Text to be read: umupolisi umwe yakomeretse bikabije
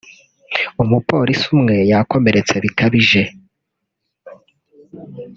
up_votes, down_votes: 1, 2